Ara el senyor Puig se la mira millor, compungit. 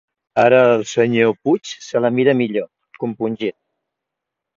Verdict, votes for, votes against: accepted, 2, 0